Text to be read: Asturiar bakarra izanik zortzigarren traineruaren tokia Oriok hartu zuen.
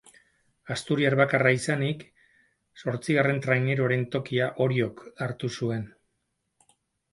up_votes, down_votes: 6, 0